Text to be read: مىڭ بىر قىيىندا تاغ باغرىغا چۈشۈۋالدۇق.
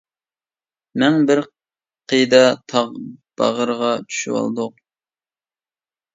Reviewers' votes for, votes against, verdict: 0, 2, rejected